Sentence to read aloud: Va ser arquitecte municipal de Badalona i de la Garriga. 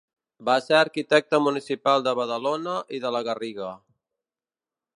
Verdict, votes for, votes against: accepted, 2, 0